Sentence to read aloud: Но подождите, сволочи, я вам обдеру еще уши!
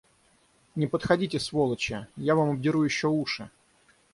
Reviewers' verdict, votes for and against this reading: rejected, 0, 6